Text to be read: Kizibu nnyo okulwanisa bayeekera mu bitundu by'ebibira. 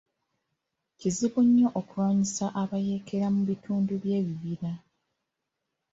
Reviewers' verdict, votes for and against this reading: accepted, 2, 0